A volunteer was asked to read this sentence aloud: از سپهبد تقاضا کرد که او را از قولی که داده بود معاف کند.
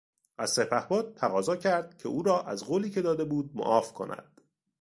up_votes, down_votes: 2, 0